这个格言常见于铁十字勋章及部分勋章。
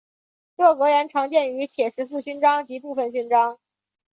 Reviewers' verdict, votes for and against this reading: accepted, 3, 1